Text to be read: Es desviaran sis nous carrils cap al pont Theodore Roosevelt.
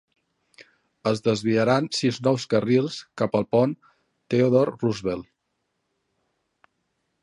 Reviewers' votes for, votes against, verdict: 2, 0, accepted